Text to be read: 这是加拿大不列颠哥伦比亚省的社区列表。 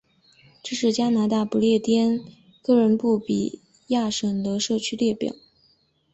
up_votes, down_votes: 2, 0